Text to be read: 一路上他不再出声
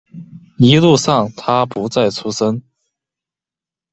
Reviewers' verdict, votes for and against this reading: accepted, 2, 0